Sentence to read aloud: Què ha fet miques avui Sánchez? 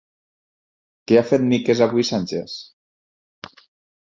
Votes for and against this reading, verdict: 4, 0, accepted